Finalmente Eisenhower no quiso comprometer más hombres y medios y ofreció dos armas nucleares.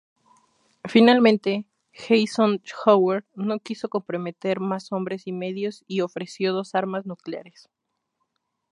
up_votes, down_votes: 2, 0